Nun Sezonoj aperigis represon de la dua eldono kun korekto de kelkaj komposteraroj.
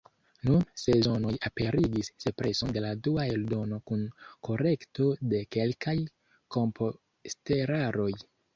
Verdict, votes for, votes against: rejected, 1, 2